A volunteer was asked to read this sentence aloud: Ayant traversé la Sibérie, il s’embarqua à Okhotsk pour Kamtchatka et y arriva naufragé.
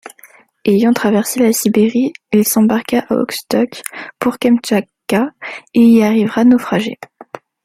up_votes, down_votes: 2, 0